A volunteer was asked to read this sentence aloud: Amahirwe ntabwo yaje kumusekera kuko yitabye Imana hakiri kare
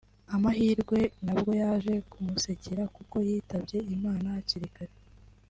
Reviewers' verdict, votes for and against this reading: rejected, 1, 2